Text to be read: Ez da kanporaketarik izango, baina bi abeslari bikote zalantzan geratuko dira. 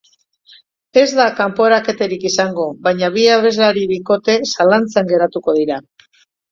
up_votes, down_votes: 2, 0